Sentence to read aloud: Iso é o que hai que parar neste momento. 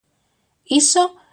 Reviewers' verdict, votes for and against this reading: rejected, 0, 2